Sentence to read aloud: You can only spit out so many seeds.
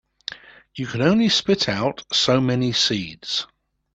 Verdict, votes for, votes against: accepted, 2, 0